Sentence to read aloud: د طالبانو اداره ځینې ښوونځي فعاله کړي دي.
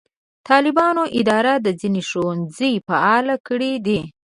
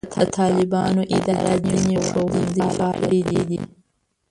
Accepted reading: first